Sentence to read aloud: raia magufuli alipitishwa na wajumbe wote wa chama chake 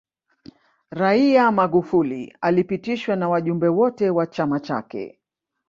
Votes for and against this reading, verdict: 0, 2, rejected